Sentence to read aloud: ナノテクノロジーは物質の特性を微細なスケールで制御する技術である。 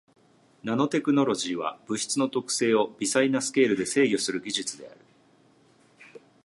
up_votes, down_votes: 3, 2